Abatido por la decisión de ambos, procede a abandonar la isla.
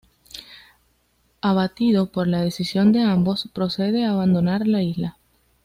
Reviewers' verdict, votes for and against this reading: accepted, 2, 0